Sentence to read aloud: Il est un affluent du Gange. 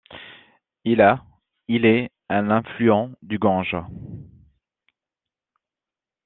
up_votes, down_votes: 0, 2